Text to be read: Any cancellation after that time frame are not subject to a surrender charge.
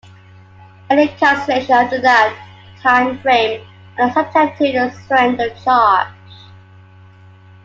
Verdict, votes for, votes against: accepted, 2, 1